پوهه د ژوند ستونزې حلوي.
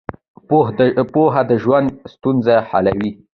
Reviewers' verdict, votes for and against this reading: accepted, 2, 0